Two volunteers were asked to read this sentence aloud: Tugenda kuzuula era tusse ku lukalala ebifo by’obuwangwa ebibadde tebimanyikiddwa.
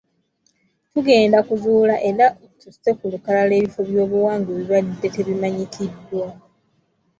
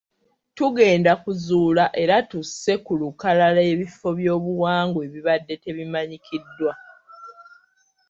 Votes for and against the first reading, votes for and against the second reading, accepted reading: 2, 0, 1, 2, first